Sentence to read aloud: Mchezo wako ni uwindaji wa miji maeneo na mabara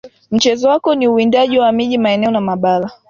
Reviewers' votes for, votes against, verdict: 2, 0, accepted